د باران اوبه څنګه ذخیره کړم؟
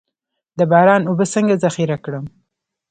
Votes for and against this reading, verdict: 2, 0, accepted